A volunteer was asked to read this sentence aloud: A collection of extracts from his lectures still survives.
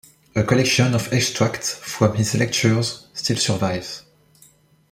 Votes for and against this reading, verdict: 2, 0, accepted